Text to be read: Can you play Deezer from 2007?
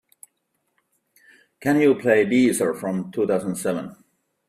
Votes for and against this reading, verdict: 0, 2, rejected